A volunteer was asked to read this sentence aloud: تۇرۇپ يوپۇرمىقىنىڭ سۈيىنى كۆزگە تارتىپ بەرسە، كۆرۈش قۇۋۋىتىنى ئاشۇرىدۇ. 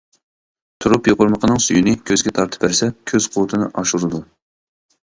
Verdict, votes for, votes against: rejected, 0, 2